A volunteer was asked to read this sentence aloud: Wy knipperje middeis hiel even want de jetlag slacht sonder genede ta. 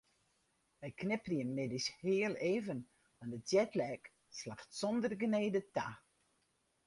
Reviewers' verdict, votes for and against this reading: rejected, 2, 2